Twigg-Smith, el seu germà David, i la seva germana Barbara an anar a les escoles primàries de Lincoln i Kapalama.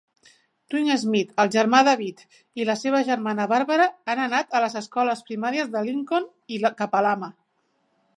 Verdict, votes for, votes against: rejected, 0, 2